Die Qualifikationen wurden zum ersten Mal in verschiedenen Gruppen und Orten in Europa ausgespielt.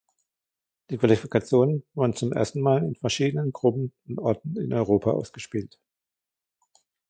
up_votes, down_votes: 1, 2